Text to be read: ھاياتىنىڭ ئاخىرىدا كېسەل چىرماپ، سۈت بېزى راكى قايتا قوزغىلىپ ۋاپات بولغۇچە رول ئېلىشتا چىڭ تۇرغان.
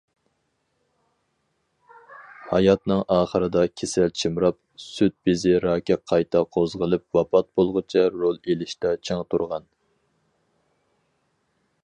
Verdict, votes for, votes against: rejected, 0, 4